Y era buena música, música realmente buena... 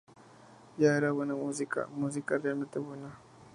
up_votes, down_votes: 0, 2